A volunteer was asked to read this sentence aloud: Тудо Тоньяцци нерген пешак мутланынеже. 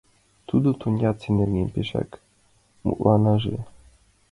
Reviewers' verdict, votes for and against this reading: rejected, 0, 6